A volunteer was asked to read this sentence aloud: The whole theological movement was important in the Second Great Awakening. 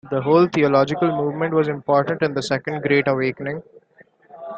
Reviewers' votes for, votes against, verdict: 2, 0, accepted